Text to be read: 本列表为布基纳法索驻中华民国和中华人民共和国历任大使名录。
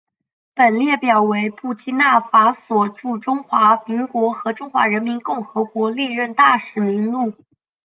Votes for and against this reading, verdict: 3, 0, accepted